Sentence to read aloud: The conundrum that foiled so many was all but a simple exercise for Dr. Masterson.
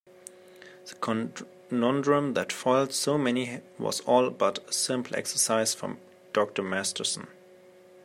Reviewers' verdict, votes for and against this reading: rejected, 0, 2